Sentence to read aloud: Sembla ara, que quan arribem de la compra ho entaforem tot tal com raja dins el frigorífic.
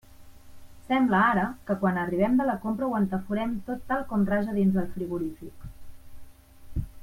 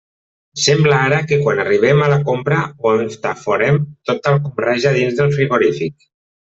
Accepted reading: first